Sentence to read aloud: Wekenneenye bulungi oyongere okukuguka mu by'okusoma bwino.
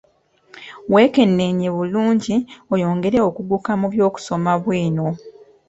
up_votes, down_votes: 2, 0